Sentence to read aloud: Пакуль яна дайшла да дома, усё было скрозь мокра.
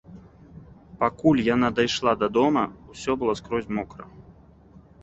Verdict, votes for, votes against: accepted, 2, 0